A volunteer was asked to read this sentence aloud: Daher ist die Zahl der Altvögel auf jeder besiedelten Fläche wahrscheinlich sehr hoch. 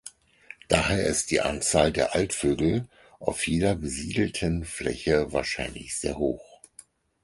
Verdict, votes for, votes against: rejected, 2, 4